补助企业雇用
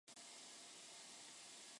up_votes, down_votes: 0, 2